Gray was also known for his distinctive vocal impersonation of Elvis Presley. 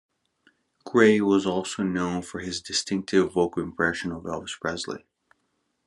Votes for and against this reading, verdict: 0, 2, rejected